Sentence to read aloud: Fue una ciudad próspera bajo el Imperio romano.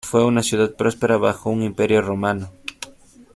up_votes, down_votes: 1, 2